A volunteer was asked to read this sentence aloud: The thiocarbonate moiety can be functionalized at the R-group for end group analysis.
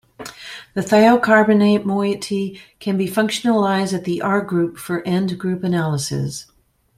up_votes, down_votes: 2, 0